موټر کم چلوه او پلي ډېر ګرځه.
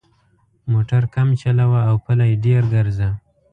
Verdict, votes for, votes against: accepted, 2, 0